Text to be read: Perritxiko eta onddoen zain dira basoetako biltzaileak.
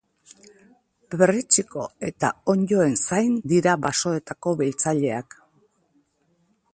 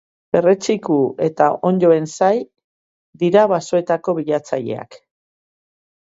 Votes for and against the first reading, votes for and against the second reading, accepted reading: 2, 0, 0, 2, first